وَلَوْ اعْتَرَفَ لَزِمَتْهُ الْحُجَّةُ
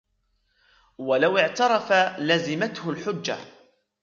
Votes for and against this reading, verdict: 1, 2, rejected